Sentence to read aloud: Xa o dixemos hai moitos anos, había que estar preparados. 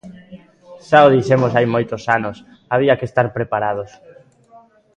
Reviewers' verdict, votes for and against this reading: accepted, 2, 0